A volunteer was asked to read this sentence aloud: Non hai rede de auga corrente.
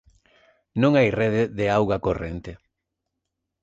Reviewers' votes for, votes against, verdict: 2, 0, accepted